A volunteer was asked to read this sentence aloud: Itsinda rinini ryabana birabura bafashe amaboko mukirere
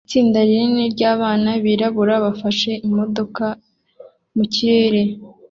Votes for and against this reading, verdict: 1, 2, rejected